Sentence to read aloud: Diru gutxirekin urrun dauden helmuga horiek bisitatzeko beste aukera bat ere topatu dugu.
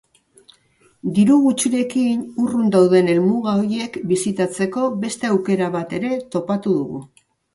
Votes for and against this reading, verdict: 1, 2, rejected